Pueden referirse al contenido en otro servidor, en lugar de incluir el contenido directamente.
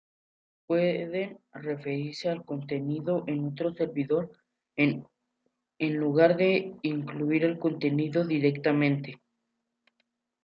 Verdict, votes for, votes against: rejected, 0, 2